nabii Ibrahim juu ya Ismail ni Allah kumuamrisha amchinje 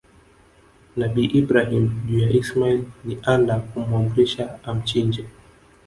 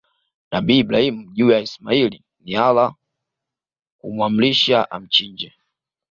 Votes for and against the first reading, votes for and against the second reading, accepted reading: 0, 2, 2, 0, second